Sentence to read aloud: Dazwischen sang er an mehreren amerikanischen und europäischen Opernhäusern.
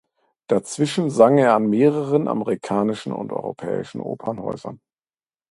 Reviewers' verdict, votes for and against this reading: accepted, 2, 0